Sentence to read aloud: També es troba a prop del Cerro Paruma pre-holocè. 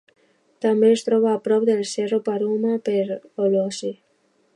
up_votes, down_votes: 1, 2